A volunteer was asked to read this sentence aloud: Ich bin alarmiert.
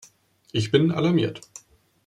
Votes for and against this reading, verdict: 2, 0, accepted